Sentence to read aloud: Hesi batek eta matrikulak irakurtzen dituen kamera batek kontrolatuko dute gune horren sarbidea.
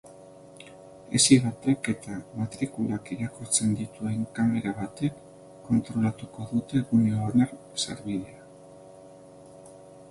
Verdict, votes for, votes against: rejected, 0, 3